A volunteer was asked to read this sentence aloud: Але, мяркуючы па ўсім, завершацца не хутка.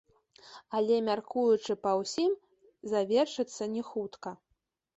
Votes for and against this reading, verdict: 2, 0, accepted